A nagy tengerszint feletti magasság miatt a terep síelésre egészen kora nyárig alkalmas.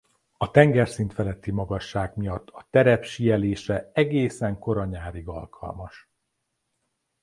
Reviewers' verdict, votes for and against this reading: rejected, 0, 3